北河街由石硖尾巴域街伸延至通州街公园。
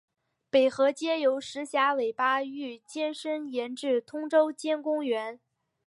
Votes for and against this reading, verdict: 5, 1, accepted